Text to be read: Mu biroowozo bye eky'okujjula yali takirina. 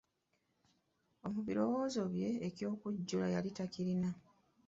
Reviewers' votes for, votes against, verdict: 2, 0, accepted